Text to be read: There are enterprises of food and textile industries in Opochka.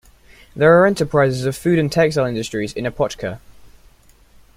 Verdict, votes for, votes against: accepted, 2, 0